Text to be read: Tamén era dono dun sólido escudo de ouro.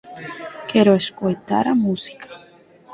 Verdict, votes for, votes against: rejected, 0, 4